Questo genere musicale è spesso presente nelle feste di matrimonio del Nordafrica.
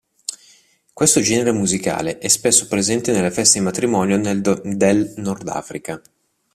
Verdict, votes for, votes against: rejected, 0, 2